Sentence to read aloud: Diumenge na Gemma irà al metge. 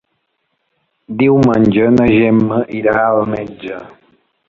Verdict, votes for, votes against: accepted, 3, 0